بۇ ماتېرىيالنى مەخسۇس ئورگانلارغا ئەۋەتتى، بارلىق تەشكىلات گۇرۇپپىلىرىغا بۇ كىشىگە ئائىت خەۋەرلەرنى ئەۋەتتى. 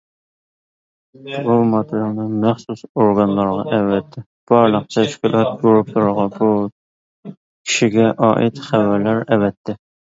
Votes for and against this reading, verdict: 0, 2, rejected